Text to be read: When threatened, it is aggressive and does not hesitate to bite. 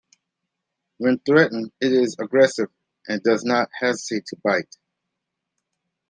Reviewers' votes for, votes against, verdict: 2, 0, accepted